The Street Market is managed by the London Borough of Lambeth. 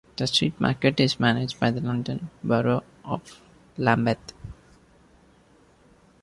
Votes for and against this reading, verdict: 2, 0, accepted